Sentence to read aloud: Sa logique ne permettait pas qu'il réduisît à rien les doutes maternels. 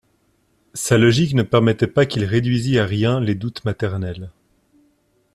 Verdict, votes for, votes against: accepted, 2, 0